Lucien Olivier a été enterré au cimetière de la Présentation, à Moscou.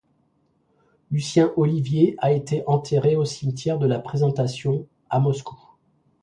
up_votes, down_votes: 1, 2